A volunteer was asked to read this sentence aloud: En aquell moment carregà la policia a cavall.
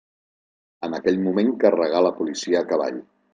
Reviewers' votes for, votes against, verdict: 1, 2, rejected